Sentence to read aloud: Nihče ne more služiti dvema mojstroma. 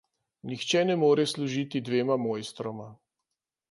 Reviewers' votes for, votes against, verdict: 2, 0, accepted